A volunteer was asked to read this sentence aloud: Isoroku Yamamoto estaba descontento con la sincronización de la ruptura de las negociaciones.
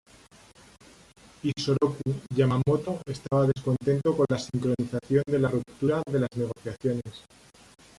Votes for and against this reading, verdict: 0, 2, rejected